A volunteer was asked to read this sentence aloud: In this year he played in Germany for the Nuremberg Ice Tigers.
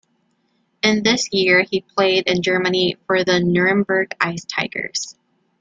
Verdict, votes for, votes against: accepted, 2, 0